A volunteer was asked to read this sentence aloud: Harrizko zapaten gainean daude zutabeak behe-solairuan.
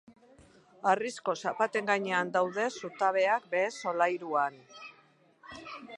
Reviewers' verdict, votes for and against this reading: rejected, 0, 2